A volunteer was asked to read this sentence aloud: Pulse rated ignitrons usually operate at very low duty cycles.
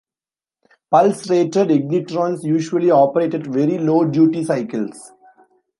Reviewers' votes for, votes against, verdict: 2, 0, accepted